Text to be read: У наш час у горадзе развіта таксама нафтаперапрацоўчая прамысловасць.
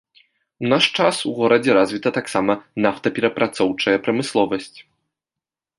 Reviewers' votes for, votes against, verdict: 2, 0, accepted